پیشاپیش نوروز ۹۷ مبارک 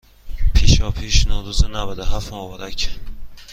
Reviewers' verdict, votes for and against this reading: rejected, 0, 2